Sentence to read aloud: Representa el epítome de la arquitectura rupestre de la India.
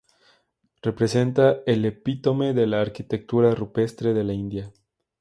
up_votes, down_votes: 2, 0